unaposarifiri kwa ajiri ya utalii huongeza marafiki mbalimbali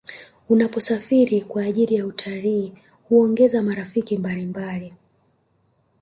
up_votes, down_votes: 3, 0